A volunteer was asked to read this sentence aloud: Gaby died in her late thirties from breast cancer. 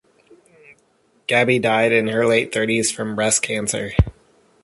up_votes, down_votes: 2, 0